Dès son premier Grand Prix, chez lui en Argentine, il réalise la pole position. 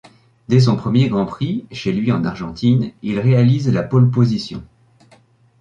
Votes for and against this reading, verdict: 2, 0, accepted